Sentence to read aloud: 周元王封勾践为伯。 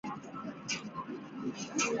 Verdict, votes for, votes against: rejected, 0, 2